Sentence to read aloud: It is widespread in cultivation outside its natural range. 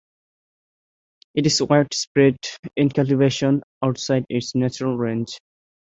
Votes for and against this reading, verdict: 2, 0, accepted